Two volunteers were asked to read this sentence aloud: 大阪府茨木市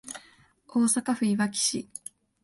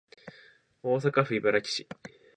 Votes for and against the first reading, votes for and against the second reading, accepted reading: 1, 2, 2, 0, second